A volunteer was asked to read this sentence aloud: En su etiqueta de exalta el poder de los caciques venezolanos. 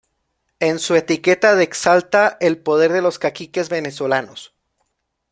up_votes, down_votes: 0, 2